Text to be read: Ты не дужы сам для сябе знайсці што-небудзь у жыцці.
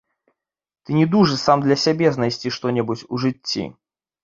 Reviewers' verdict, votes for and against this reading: accepted, 2, 1